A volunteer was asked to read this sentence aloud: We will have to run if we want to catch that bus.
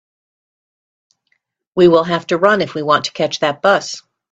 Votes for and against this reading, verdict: 2, 0, accepted